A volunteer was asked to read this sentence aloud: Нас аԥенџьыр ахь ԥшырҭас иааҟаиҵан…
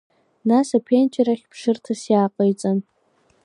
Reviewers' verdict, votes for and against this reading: accepted, 2, 0